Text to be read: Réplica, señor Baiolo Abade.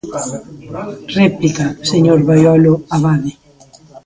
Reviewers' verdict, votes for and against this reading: accepted, 2, 0